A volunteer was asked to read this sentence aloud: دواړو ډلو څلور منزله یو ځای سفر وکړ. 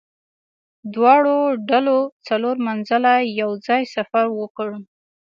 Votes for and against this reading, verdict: 2, 0, accepted